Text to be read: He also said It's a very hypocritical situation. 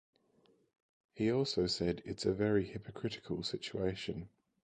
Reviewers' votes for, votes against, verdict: 2, 2, rejected